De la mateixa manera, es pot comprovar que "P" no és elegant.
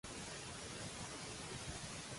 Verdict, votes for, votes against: rejected, 0, 2